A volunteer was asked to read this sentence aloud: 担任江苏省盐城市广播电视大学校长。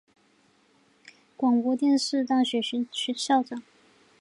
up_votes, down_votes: 0, 2